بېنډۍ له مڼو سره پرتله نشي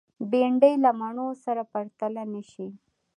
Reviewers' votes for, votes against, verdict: 2, 0, accepted